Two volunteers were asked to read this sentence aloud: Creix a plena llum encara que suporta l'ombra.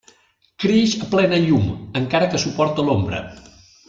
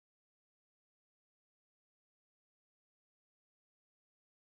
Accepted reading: first